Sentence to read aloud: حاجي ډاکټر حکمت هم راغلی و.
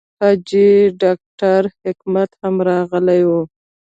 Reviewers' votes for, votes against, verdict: 2, 1, accepted